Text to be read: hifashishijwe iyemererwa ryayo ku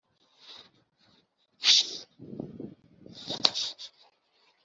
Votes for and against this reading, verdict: 0, 2, rejected